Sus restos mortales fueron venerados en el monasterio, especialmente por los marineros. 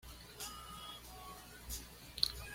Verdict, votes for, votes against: rejected, 1, 2